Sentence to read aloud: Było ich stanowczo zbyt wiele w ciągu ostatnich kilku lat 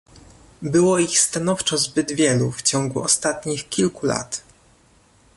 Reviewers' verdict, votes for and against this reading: rejected, 0, 2